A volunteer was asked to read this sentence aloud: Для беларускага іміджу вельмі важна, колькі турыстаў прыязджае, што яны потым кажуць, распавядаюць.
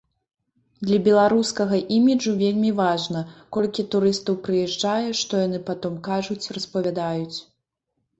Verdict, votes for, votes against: rejected, 1, 2